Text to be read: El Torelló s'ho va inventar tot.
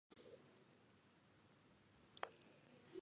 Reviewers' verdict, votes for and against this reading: rejected, 0, 2